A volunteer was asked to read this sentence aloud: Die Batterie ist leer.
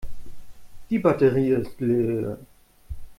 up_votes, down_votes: 1, 2